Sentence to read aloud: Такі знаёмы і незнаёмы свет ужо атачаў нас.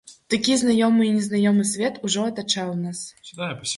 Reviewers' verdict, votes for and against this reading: rejected, 1, 2